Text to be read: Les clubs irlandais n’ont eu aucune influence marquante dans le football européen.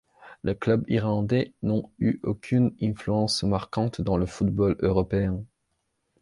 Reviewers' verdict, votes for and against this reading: accepted, 2, 1